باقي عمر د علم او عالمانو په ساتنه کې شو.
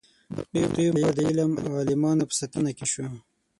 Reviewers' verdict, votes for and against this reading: rejected, 0, 6